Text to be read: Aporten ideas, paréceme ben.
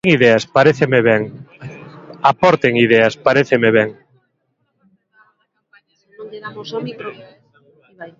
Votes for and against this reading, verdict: 0, 2, rejected